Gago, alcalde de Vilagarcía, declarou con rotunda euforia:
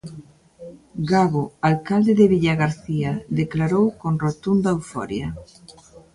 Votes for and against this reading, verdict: 0, 2, rejected